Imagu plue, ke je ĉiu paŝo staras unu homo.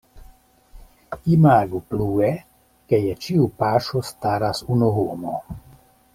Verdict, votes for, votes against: accepted, 2, 0